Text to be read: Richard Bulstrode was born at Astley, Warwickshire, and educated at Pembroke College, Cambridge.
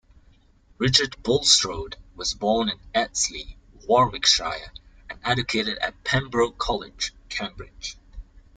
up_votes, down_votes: 0, 2